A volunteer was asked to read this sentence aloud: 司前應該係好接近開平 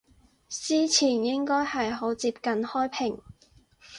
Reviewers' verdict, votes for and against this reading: accepted, 4, 0